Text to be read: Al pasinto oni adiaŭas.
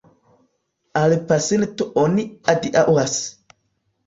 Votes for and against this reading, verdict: 2, 0, accepted